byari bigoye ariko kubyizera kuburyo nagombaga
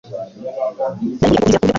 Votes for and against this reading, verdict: 2, 0, accepted